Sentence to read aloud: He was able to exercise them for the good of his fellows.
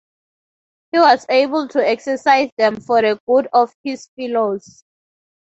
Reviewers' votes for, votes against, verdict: 0, 2, rejected